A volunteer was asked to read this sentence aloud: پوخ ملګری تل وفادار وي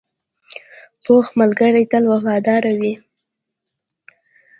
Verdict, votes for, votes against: accepted, 2, 0